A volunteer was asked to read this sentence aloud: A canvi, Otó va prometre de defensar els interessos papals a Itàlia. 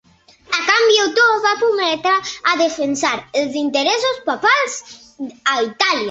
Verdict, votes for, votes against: rejected, 1, 2